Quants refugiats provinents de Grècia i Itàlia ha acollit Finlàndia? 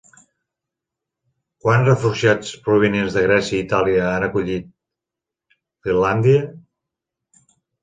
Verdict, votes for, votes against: rejected, 0, 2